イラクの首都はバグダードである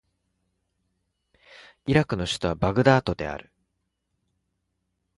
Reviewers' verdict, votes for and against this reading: accepted, 4, 1